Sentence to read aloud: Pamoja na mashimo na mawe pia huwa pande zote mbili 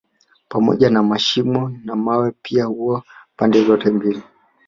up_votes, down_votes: 2, 1